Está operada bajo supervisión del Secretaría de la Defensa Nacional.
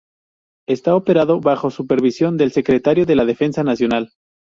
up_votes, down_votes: 0, 2